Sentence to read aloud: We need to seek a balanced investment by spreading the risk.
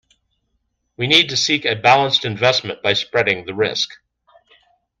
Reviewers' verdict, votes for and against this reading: accepted, 2, 0